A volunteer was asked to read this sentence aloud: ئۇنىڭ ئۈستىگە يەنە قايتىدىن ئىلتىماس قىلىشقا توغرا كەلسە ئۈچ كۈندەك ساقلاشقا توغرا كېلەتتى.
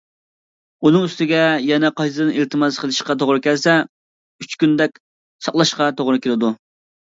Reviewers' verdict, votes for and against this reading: rejected, 0, 2